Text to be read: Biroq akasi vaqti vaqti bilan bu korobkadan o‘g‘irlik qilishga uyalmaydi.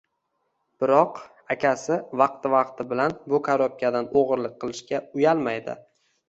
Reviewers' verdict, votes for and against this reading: accepted, 2, 0